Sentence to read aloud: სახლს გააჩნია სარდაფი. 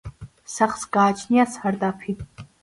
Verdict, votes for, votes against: accepted, 2, 0